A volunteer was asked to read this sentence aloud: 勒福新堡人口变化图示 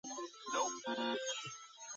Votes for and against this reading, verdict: 1, 2, rejected